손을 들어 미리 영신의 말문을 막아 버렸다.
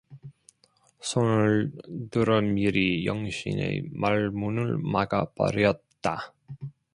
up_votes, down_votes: 2, 1